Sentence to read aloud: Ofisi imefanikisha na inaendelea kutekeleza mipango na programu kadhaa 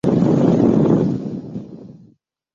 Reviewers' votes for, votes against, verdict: 0, 2, rejected